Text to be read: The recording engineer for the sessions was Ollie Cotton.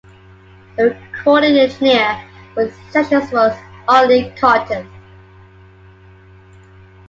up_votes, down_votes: 2, 1